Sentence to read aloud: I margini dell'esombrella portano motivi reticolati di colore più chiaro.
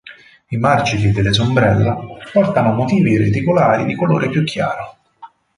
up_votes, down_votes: 0, 4